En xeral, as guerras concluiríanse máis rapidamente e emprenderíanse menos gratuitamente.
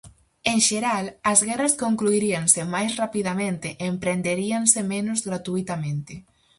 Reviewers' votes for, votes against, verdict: 4, 0, accepted